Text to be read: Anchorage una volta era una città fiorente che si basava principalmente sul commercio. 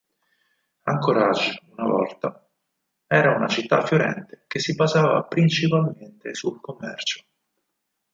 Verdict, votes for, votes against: rejected, 2, 4